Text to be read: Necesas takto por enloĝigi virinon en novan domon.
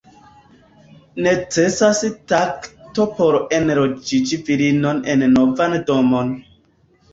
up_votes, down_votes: 1, 2